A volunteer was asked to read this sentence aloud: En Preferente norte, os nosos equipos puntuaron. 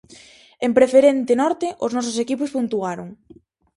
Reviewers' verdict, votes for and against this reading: accepted, 4, 0